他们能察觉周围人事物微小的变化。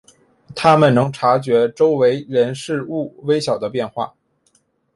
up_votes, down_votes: 2, 0